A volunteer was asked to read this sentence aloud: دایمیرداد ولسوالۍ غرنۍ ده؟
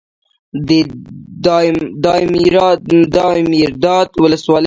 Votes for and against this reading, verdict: 1, 3, rejected